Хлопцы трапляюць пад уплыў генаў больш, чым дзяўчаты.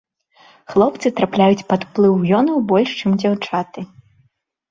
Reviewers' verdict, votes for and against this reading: rejected, 1, 2